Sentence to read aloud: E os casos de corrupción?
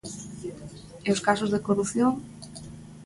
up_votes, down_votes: 2, 0